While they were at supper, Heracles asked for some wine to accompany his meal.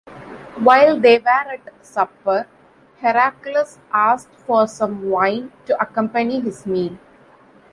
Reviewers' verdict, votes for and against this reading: rejected, 0, 2